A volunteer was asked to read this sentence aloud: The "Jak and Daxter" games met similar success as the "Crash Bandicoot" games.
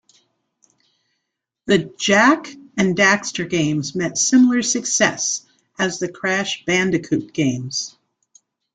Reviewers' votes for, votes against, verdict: 2, 0, accepted